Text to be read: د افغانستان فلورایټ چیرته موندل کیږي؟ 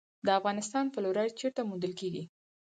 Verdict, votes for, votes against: rejected, 0, 4